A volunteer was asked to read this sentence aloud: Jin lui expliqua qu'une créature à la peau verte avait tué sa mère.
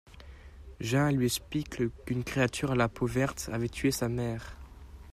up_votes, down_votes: 0, 2